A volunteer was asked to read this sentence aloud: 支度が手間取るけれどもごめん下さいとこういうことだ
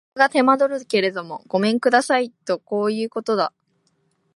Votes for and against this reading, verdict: 3, 2, accepted